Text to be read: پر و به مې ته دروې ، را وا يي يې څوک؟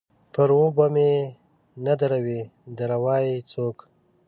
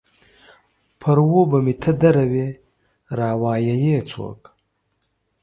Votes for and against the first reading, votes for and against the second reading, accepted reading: 1, 2, 2, 0, second